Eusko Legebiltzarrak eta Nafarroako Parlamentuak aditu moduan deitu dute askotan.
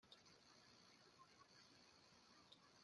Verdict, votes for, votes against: rejected, 0, 2